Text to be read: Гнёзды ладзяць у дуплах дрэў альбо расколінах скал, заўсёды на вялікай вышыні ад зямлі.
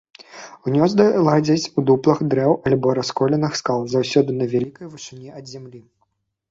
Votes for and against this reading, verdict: 1, 2, rejected